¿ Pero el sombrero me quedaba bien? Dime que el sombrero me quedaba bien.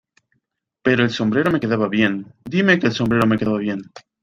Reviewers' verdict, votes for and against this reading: accepted, 2, 1